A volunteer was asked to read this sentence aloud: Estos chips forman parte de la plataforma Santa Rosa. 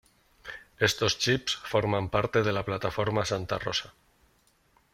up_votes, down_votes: 2, 0